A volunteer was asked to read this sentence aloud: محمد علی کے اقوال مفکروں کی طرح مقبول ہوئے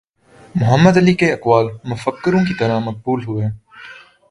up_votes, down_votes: 2, 0